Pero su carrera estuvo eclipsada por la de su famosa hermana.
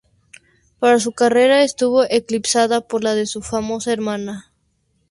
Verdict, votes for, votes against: accepted, 2, 0